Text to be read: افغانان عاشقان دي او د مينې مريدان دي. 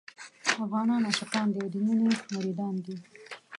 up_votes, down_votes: 1, 2